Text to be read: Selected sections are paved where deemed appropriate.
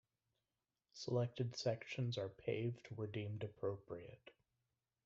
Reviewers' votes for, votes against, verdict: 2, 0, accepted